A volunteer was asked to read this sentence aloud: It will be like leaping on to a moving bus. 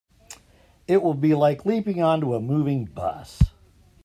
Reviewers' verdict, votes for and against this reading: accepted, 2, 0